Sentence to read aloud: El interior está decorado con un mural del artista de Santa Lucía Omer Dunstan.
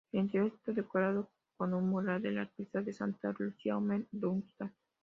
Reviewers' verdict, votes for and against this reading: rejected, 1, 2